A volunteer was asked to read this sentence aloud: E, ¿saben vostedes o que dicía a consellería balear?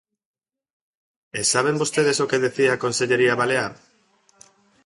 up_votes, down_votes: 0, 2